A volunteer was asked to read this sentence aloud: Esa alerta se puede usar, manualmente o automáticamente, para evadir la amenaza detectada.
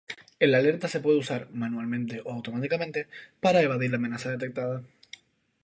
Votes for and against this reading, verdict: 0, 2, rejected